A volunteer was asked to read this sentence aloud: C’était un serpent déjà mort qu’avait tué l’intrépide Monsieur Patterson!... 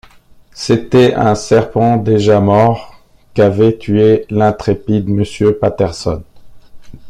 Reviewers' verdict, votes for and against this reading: rejected, 0, 2